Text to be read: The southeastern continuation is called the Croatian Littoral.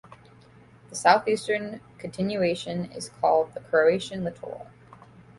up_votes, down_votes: 0, 2